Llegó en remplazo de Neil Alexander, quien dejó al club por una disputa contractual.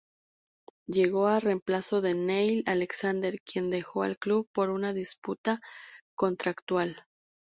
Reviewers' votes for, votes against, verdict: 0, 2, rejected